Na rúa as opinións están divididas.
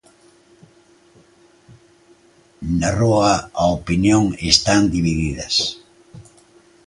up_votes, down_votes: 0, 2